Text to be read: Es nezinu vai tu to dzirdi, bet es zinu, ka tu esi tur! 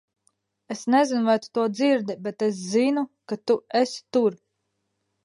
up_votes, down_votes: 2, 0